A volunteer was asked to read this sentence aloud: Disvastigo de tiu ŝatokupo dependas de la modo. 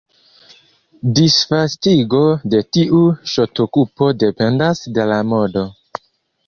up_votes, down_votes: 1, 2